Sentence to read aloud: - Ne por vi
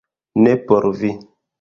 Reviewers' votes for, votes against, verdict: 0, 2, rejected